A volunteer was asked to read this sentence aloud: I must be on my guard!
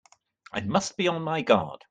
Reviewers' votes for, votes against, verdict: 2, 0, accepted